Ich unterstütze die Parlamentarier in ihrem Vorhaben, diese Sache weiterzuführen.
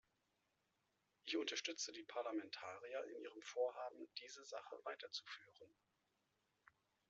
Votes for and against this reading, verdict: 2, 0, accepted